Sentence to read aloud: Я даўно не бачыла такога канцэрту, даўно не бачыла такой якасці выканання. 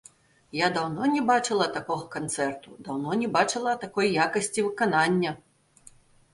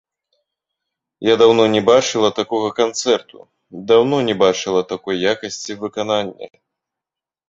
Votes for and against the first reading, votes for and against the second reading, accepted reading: 2, 0, 1, 2, first